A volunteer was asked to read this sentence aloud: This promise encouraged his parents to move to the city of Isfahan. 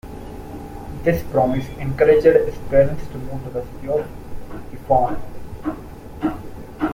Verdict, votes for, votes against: accepted, 2, 0